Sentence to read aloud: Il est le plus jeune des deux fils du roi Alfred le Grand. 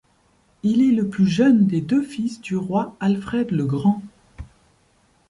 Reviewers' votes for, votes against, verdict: 2, 0, accepted